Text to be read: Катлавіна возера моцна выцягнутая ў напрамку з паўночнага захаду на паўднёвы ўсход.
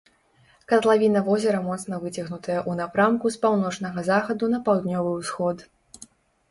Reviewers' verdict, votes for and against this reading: accepted, 3, 0